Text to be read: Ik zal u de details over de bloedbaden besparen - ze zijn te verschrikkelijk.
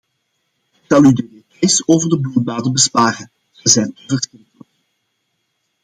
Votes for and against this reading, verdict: 0, 2, rejected